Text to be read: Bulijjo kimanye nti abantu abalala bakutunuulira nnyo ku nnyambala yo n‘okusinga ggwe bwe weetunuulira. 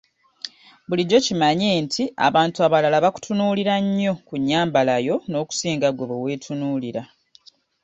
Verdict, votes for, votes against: accepted, 2, 0